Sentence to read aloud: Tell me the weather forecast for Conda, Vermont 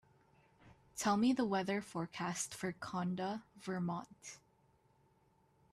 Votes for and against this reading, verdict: 3, 0, accepted